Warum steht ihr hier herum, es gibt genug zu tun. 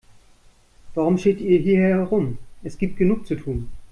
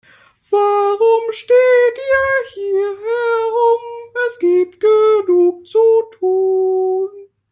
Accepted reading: first